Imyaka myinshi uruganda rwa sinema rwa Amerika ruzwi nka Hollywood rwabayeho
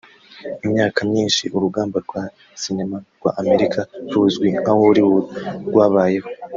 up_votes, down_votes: 1, 2